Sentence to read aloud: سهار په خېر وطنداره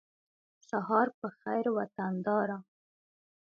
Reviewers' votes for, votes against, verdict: 2, 1, accepted